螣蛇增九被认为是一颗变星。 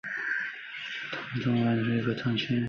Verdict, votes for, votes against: rejected, 0, 2